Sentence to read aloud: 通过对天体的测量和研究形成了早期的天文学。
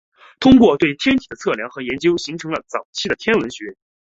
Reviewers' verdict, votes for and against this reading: accepted, 2, 0